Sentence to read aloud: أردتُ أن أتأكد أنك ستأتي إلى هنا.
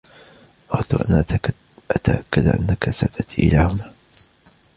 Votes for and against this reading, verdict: 2, 0, accepted